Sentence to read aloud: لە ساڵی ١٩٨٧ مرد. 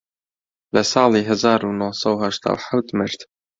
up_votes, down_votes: 0, 2